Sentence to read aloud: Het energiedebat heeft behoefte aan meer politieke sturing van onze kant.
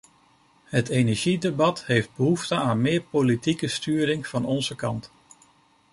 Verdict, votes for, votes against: accepted, 2, 0